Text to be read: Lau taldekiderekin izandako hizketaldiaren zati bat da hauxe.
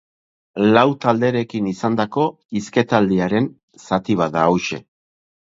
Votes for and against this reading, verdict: 0, 4, rejected